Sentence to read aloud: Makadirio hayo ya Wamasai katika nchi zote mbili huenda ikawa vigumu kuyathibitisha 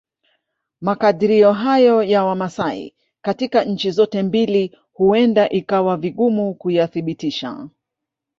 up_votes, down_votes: 0, 2